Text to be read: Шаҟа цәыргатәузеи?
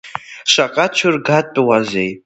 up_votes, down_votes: 0, 2